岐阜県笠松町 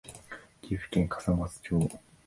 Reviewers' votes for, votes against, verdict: 2, 0, accepted